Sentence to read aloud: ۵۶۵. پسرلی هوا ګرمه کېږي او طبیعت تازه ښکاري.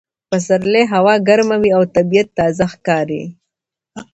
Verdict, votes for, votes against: rejected, 0, 2